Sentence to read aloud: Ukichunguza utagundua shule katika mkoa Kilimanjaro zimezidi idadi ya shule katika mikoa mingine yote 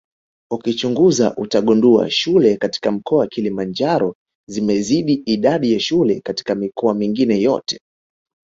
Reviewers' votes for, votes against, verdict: 3, 0, accepted